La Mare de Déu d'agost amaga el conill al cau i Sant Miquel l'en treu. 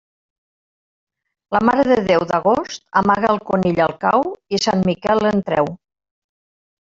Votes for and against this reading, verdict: 2, 0, accepted